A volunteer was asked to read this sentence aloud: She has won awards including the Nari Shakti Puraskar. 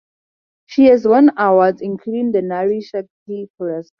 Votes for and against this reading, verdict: 0, 2, rejected